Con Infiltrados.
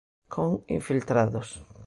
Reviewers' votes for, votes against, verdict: 2, 0, accepted